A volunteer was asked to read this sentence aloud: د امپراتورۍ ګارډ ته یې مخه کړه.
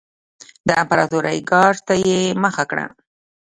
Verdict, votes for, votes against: rejected, 1, 2